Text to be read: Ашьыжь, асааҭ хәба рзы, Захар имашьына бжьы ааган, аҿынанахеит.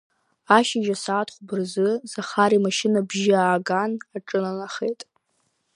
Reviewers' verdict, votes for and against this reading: accepted, 2, 0